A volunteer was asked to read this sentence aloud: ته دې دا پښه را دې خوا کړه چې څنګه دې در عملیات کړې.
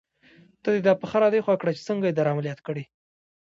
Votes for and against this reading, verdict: 2, 0, accepted